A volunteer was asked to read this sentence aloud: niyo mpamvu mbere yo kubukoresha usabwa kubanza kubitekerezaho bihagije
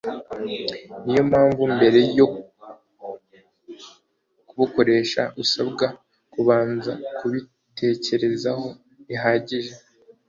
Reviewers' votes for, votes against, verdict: 2, 0, accepted